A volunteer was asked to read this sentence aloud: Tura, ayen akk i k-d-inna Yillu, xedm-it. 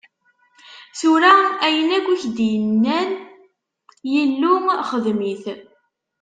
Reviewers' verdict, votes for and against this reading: rejected, 1, 2